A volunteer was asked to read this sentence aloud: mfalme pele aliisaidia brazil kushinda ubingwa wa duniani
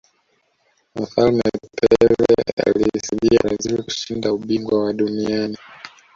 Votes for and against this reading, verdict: 0, 2, rejected